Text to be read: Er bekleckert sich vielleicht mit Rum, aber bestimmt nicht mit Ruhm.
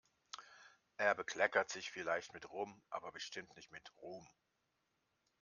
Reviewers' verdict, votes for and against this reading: accepted, 2, 0